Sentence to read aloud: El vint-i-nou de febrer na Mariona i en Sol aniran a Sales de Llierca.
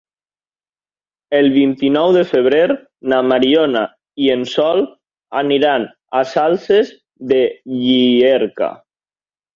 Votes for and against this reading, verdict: 1, 2, rejected